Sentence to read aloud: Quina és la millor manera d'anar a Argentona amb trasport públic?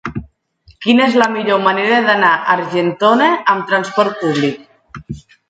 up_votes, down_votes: 1, 2